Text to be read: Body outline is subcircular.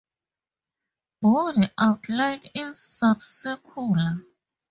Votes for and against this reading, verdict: 2, 4, rejected